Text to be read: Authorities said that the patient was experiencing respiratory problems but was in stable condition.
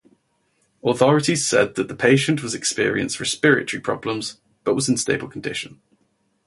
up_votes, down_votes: 0, 2